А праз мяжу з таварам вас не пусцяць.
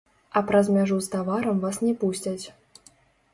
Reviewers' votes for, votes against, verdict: 2, 3, rejected